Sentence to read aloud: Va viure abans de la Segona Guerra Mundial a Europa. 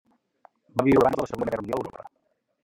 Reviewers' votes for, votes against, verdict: 0, 2, rejected